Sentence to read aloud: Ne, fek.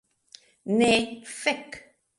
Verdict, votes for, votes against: rejected, 1, 2